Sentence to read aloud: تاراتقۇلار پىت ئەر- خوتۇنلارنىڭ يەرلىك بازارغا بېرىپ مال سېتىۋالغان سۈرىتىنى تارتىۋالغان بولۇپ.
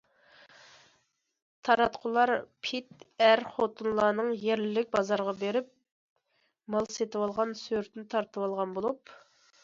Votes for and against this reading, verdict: 2, 0, accepted